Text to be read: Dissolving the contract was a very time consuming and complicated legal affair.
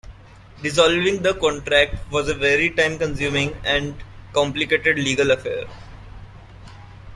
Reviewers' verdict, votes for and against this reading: accepted, 2, 0